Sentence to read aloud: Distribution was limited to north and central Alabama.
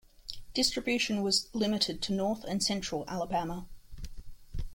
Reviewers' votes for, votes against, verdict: 3, 0, accepted